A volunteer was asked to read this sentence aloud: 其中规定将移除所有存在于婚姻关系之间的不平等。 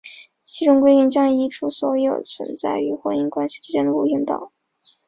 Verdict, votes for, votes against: rejected, 0, 4